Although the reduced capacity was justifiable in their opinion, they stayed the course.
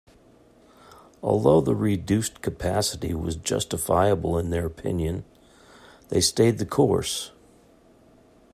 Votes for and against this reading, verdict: 2, 0, accepted